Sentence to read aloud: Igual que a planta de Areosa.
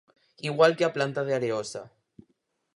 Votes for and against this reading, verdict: 4, 0, accepted